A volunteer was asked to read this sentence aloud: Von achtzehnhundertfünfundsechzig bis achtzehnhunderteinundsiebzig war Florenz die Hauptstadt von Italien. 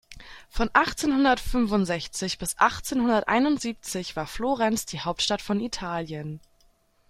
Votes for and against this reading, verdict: 2, 3, rejected